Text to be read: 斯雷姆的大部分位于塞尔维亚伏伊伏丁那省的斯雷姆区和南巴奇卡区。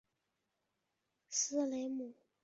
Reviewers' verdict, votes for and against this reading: rejected, 0, 2